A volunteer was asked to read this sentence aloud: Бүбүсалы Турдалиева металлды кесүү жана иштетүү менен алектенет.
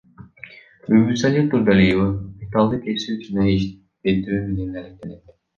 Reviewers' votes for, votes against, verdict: 2, 1, accepted